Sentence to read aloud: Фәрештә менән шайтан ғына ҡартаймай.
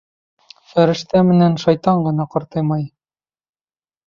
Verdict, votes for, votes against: accepted, 2, 0